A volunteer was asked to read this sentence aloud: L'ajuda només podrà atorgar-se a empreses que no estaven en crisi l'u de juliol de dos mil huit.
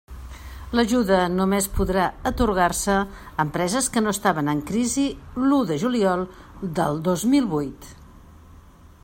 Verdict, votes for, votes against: rejected, 0, 2